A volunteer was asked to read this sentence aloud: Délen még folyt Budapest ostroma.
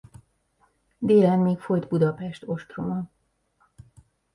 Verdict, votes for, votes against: accepted, 2, 0